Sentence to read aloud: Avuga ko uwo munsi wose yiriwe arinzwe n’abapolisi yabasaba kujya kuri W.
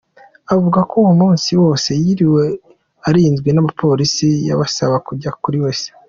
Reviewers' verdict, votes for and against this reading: accepted, 2, 1